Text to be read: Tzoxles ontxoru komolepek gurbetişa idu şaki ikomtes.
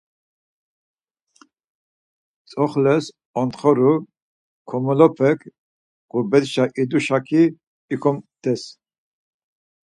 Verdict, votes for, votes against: rejected, 2, 4